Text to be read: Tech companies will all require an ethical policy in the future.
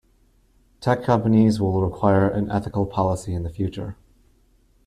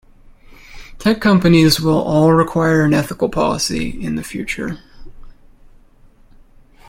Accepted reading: second